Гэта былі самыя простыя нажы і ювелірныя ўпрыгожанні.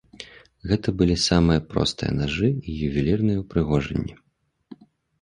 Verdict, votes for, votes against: accepted, 2, 0